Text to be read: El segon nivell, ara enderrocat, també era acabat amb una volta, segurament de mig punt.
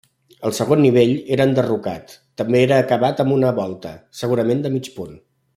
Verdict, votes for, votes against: rejected, 1, 2